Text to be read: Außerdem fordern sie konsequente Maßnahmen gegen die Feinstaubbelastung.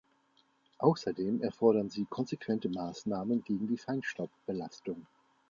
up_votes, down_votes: 0, 2